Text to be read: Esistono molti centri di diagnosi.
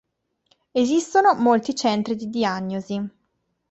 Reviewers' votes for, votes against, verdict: 2, 0, accepted